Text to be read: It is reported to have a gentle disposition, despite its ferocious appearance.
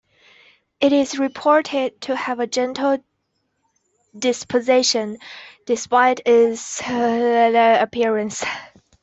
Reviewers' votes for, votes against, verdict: 0, 2, rejected